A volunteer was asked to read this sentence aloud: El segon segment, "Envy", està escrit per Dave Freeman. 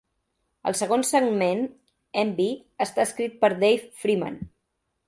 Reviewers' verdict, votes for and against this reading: rejected, 1, 2